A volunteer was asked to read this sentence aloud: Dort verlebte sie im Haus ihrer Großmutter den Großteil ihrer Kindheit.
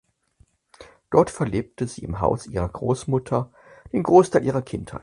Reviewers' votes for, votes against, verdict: 0, 4, rejected